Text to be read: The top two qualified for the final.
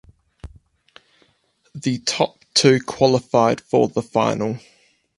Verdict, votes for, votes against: accepted, 4, 0